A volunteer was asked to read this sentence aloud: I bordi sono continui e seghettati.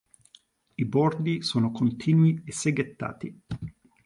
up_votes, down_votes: 2, 0